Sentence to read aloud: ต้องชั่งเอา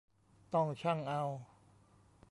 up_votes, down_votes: 2, 0